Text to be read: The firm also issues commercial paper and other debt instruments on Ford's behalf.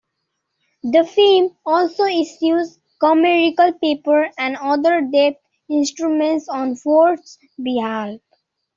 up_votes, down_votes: 1, 2